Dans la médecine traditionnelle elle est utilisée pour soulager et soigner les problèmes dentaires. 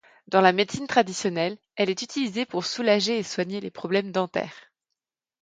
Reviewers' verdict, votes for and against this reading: accepted, 2, 0